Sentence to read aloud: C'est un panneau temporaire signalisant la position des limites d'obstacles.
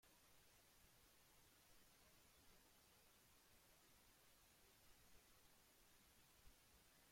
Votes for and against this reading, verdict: 0, 2, rejected